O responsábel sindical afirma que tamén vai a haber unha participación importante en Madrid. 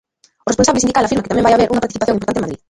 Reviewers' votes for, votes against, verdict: 0, 2, rejected